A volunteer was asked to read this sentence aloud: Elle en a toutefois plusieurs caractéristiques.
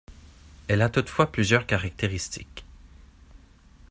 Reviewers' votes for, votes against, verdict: 1, 2, rejected